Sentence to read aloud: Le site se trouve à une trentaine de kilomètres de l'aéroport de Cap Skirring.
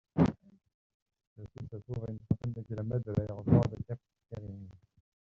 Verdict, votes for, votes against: rejected, 0, 2